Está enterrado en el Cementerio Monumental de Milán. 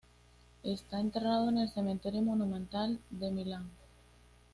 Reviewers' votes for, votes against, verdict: 0, 2, rejected